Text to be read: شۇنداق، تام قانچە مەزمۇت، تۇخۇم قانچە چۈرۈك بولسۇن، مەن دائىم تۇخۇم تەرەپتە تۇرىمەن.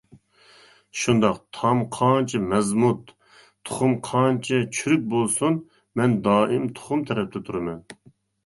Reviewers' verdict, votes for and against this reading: accepted, 2, 0